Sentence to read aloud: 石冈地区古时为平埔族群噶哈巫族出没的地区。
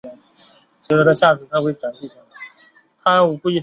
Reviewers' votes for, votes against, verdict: 0, 4, rejected